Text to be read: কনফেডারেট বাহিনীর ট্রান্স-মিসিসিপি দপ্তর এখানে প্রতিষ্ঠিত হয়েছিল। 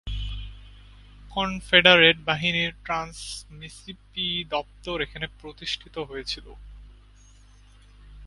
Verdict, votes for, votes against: rejected, 0, 2